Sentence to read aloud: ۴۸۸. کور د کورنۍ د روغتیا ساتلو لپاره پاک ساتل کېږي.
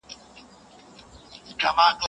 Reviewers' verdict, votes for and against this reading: rejected, 0, 2